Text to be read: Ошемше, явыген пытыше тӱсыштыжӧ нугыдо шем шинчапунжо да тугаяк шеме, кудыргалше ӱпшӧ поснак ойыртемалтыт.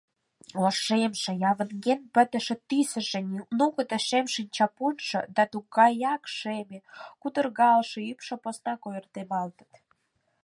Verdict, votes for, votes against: rejected, 0, 4